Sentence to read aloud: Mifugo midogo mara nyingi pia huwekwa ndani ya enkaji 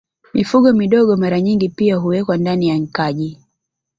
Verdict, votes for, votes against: rejected, 1, 2